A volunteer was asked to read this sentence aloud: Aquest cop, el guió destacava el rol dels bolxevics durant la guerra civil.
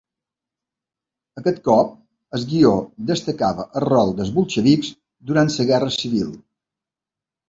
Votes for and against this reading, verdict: 0, 2, rejected